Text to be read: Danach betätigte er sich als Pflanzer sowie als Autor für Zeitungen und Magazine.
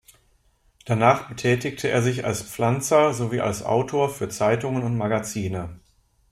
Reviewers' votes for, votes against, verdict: 2, 0, accepted